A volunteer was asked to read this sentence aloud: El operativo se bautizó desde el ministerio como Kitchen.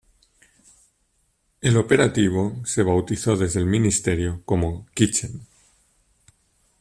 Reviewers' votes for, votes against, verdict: 2, 0, accepted